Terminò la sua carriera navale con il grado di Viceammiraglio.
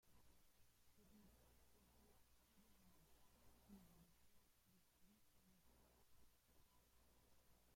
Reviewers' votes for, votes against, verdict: 0, 2, rejected